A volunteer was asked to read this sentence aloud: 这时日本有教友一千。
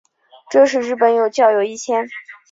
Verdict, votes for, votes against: accepted, 3, 0